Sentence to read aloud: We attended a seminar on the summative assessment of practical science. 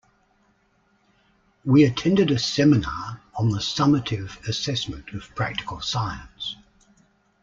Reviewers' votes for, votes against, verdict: 2, 0, accepted